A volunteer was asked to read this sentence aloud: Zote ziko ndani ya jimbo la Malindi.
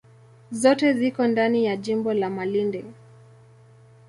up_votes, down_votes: 2, 0